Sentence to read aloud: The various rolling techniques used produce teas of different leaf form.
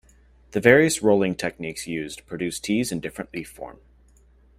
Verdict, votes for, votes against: rejected, 1, 2